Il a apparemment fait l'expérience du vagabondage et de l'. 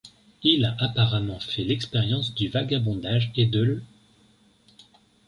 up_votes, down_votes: 2, 0